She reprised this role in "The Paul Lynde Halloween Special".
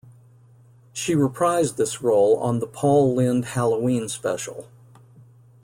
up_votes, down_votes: 0, 2